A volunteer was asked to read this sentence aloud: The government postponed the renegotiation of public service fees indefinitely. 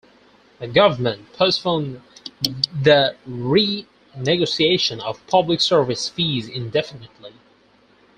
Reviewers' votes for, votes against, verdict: 4, 0, accepted